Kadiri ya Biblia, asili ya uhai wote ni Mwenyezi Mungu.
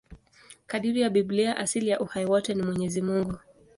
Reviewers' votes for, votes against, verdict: 2, 0, accepted